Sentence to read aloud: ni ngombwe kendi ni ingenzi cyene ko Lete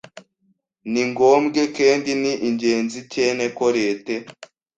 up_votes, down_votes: 1, 2